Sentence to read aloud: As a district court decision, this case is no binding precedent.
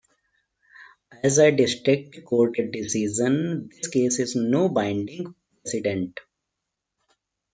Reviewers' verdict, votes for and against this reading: rejected, 0, 2